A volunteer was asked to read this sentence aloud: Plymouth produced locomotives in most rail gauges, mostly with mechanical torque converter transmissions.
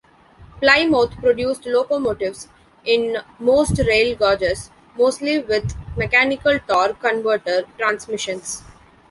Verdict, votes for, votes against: rejected, 0, 2